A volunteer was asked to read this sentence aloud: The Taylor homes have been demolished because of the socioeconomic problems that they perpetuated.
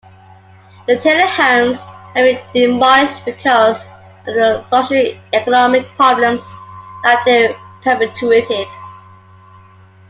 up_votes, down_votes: 0, 2